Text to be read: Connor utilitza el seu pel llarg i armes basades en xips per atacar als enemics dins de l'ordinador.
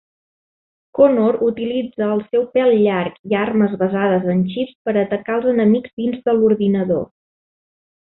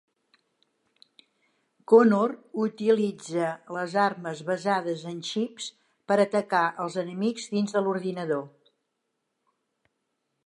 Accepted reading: first